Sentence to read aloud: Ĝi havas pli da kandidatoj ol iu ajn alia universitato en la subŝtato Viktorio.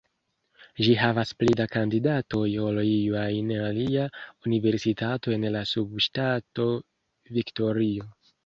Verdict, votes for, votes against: accepted, 2, 0